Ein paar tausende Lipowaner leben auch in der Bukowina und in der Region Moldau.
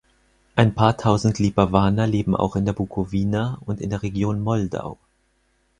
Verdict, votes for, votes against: rejected, 0, 4